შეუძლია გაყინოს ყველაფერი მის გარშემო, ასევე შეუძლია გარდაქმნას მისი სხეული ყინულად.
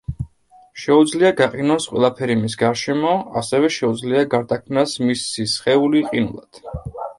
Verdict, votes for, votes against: accepted, 2, 0